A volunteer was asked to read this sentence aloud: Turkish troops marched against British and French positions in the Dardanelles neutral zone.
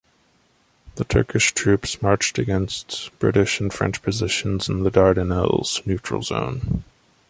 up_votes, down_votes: 0, 2